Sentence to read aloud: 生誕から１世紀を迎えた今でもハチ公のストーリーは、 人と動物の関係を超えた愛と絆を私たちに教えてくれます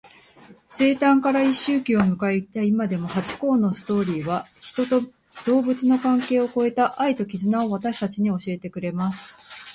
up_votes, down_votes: 0, 2